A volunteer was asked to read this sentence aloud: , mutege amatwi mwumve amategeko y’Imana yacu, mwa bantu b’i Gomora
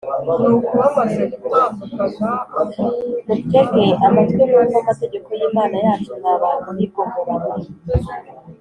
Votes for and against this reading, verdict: 1, 2, rejected